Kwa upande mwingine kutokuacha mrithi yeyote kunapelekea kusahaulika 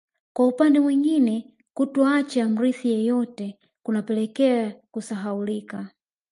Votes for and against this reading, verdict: 2, 0, accepted